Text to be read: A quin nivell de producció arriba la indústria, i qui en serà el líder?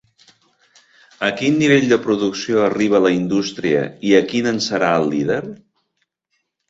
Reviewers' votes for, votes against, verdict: 1, 2, rejected